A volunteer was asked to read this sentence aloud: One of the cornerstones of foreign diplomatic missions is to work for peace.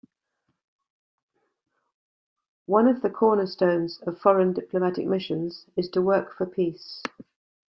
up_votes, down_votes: 2, 0